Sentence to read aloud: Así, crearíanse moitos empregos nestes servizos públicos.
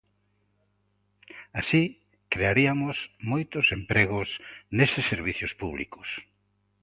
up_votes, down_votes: 0, 2